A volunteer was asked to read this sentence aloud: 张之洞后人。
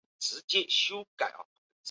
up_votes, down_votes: 2, 5